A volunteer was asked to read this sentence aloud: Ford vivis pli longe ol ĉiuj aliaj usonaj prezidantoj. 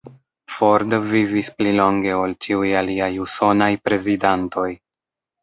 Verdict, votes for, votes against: rejected, 0, 2